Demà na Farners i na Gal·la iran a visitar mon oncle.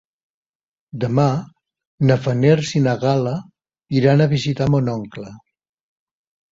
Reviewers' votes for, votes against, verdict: 1, 2, rejected